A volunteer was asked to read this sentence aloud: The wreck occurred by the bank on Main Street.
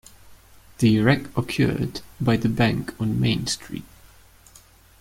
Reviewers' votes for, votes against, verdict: 2, 1, accepted